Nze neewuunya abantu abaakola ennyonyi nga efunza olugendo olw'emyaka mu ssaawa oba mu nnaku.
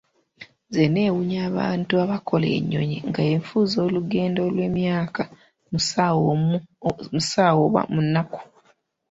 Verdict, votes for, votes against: rejected, 0, 2